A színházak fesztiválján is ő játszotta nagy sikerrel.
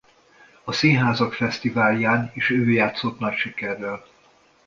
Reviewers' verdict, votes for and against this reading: rejected, 0, 2